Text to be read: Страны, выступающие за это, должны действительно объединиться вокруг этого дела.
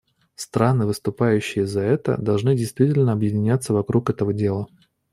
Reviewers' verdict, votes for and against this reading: rejected, 1, 2